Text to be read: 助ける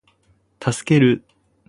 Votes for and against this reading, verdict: 4, 0, accepted